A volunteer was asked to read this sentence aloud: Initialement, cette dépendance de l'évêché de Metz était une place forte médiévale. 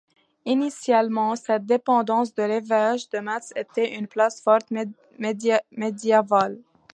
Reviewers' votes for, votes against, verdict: 0, 2, rejected